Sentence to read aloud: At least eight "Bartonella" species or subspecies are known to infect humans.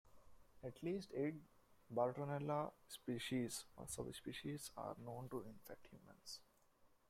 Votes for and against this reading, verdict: 0, 2, rejected